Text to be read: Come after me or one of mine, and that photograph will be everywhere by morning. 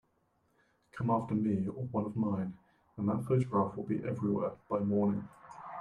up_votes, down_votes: 0, 2